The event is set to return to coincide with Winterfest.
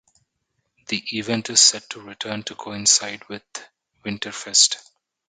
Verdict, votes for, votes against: accepted, 2, 0